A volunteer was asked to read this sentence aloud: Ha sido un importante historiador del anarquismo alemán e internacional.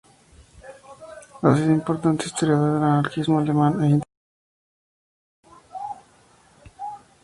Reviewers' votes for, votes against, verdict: 0, 2, rejected